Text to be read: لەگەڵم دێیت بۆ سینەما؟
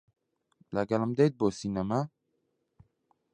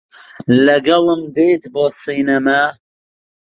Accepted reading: first